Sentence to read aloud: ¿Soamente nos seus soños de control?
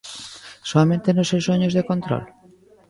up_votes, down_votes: 2, 0